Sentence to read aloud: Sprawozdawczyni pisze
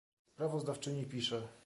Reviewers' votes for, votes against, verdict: 1, 2, rejected